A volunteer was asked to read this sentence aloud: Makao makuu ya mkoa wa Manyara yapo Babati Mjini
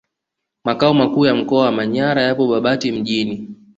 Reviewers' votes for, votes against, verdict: 2, 0, accepted